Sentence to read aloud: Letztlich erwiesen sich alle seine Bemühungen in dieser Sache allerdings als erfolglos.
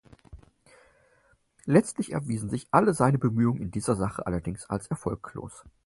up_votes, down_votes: 4, 0